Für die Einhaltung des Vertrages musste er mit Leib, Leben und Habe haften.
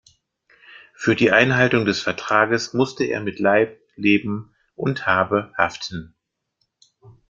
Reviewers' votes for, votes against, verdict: 3, 0, accepted